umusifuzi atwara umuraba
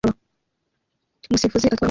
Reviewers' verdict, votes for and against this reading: rejected, 0, 2